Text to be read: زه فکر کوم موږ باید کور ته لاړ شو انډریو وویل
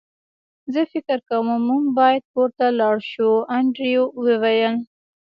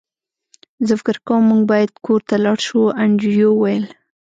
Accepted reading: second